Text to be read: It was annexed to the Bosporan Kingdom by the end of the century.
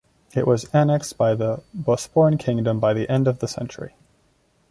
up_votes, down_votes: 1, 2